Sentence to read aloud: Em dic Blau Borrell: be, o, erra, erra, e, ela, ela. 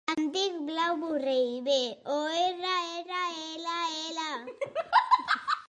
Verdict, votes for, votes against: accepted, 2, 0